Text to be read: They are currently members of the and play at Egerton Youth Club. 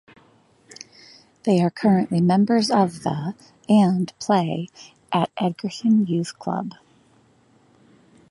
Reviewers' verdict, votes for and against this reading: accepted, 2, 0